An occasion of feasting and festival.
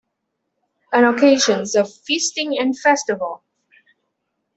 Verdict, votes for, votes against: accepted, 2, 1